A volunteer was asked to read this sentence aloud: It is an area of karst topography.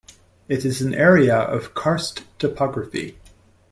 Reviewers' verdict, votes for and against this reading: accepted, 2, 0